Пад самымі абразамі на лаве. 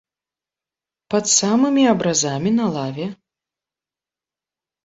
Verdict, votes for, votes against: accepted, 2, 0